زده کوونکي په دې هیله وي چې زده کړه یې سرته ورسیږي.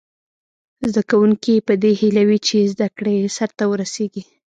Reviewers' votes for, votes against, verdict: 2, 0, accepted